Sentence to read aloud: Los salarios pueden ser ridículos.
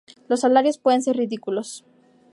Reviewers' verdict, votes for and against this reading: accepted, 2, 0